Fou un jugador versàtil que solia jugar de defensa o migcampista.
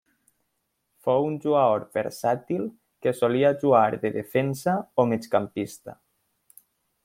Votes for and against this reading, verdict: 1, 2, rejected